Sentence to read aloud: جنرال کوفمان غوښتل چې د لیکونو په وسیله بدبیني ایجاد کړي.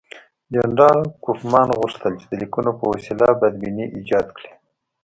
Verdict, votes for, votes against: accepted, 2, 0